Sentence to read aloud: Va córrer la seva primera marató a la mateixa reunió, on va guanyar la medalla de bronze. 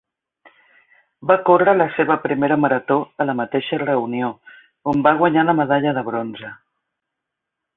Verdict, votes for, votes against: accepted, 3, 0